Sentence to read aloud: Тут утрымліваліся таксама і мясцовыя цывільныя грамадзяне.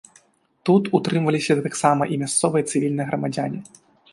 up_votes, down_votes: 0, 2